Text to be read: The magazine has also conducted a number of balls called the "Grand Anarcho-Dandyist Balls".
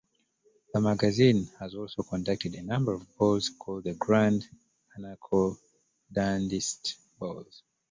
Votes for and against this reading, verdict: 0, 2, rejected